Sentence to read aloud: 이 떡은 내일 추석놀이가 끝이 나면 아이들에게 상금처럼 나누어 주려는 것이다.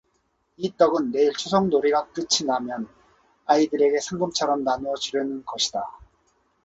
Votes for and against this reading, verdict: 2, 0, accepted